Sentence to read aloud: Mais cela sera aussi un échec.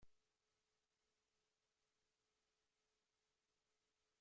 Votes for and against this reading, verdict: 0, 2, rejected